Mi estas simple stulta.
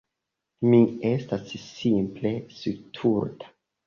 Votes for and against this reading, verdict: 1, 2, rejected